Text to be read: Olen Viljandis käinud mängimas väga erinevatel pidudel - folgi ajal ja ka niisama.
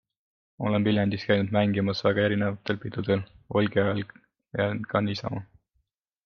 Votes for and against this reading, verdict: 2, 0, accepted